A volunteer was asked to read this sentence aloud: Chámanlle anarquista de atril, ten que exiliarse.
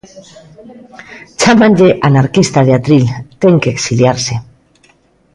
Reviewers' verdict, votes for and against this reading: accepted, 2, 0